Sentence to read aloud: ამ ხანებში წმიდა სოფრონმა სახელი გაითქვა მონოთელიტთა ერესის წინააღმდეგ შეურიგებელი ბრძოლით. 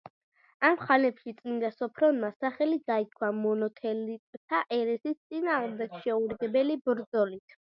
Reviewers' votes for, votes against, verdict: 2, 0, accepted